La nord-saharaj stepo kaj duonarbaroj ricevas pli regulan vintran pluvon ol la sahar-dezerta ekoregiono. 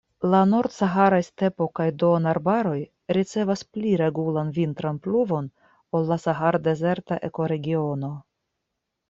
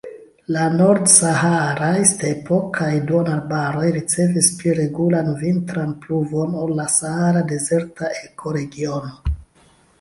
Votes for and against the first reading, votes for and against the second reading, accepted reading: 2, 0, 0, 2, first